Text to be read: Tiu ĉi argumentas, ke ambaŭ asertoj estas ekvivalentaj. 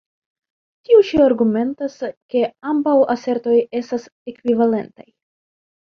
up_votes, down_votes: 2, 0